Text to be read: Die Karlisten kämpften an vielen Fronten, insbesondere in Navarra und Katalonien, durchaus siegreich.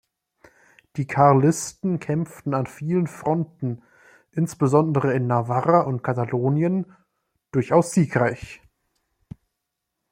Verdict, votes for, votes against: accepted, 2, 0